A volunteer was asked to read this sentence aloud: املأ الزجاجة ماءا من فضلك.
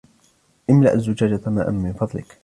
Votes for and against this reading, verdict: 1, 2, rejected